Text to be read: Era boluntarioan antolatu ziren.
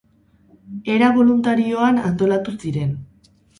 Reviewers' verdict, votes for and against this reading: rejected, 0, 2